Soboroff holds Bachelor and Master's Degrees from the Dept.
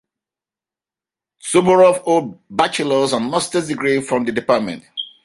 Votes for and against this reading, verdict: 1, 2, rejected